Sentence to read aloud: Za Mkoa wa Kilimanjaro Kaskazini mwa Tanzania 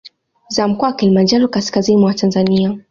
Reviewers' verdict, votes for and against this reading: accepted, 2, 0